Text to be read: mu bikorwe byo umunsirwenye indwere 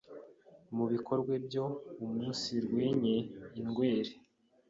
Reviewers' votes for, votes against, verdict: 1, 2, rejected